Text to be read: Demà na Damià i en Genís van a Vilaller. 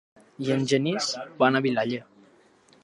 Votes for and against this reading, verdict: 1, 2, rejected